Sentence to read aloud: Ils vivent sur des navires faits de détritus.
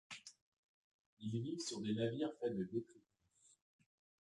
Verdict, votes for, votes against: accepted, 2, 1